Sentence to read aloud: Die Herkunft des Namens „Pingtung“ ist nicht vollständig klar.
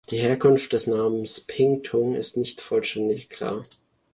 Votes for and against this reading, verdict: 2, 0, accepted